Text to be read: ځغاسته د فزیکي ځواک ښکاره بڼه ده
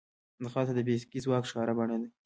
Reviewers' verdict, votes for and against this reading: accepted, 2, 0